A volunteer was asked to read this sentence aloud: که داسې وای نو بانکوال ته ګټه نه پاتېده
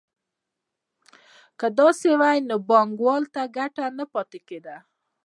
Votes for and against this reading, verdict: 1, 2, rejected